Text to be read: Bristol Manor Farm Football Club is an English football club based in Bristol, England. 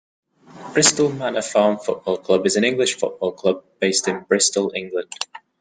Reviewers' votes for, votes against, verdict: 2, 0, accepted